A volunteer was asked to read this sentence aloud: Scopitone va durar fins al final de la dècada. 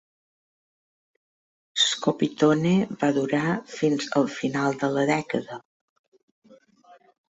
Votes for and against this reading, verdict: 2, 0, accepted